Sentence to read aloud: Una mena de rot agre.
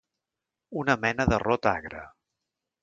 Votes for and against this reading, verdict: 2, 0, accepted